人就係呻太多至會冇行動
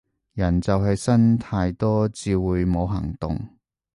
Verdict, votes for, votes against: rejected, 2, 2